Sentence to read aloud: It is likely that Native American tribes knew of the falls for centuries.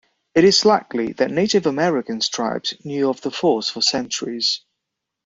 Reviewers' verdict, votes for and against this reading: accepted, 2, 1